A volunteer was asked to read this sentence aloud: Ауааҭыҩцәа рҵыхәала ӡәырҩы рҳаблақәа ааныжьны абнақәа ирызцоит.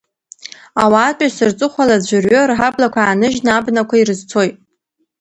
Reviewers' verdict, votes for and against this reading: rejected, 1, 2